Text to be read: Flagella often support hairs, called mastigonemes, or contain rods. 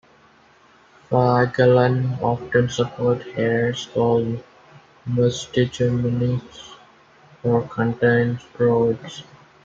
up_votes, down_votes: 0, 2